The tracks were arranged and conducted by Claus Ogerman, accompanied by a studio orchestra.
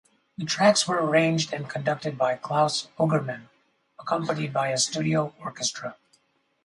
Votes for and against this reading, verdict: 2, 2, rejected